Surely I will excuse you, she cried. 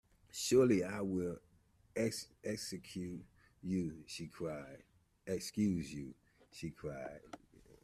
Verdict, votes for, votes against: rejected, 0, 2